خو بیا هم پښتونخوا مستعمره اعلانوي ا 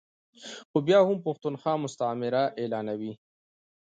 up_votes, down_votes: 2, 0